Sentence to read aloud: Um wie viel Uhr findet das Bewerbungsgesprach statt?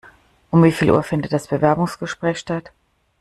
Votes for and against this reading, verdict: 1, 2, rejected